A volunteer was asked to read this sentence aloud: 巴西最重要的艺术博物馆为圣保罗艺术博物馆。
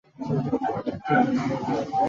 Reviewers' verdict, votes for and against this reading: rejected, 0, 3